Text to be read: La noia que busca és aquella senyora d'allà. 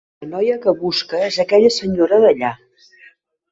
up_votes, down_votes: 2, 0